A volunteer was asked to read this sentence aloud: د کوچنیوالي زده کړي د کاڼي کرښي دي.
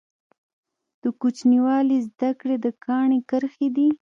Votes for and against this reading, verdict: 2, 0, accepted